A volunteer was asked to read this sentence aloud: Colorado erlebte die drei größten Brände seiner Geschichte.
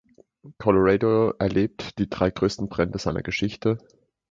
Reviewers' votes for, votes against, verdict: 0, 2, rejected